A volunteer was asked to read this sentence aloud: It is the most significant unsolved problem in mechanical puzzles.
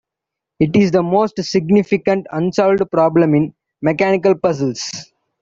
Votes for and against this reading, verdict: 2, 0, accepted